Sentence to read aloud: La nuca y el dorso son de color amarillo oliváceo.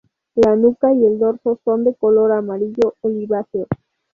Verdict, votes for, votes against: accepted, 2, 0